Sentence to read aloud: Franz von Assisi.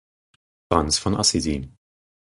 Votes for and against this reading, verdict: 2, 4, rejected